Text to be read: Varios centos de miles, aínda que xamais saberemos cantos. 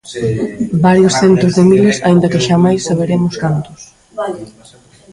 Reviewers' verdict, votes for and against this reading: rejected, 0, 2